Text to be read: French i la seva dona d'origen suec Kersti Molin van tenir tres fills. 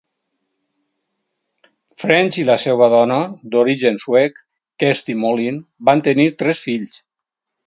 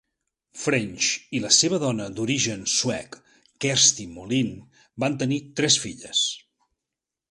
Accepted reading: first